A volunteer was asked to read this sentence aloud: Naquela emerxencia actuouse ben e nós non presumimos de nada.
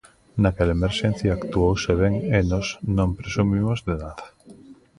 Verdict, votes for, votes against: accepted, 2, 0